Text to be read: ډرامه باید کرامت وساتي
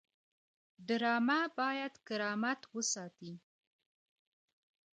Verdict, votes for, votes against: rejected, 1, 2